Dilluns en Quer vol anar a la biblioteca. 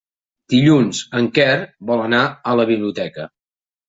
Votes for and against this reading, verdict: 3, 0, accepted